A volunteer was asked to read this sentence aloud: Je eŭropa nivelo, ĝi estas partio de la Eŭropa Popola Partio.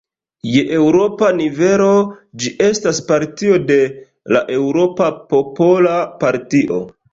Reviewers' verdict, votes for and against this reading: accepted, 2, 0